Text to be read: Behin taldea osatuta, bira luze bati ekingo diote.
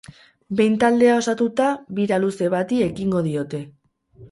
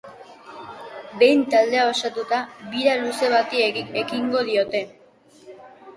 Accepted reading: first